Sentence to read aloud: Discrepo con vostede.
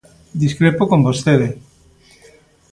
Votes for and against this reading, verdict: 2, 0, accepted